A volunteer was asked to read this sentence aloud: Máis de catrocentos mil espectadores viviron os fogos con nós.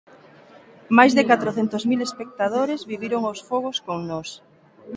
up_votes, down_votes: 1, 2